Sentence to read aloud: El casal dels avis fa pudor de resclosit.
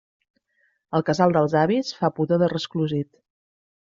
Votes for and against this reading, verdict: 2, 0, accepted